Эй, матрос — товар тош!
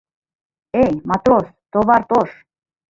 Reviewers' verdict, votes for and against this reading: rejected, 1, 2